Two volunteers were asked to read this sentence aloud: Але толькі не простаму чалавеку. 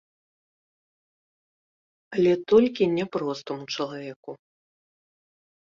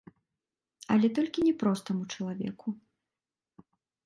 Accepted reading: second